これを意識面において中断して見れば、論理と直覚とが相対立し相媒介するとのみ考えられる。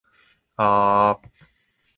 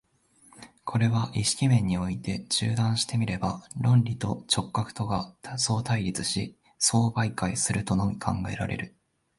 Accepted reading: second